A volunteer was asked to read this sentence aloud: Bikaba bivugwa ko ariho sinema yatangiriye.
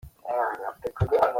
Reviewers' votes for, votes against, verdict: 0, 2, rejected